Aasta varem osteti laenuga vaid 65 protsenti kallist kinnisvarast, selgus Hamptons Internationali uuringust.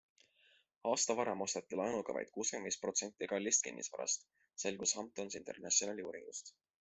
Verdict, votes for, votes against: rejected, 0, 2